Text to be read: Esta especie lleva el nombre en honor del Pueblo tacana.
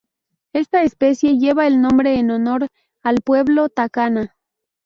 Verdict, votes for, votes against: rejected, 0, 2